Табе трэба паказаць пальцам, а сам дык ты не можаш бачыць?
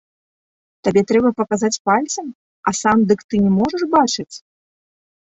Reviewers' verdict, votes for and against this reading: accepted, 2, 0